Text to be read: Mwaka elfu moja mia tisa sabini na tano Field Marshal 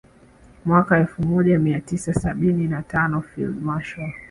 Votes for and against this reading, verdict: 2, 0, accepted